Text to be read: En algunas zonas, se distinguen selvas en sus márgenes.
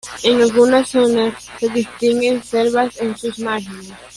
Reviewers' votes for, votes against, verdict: 0, 2, rejected